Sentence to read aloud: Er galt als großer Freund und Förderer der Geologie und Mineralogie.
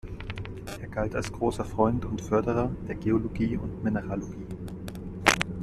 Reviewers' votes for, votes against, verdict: 2, 0, accepted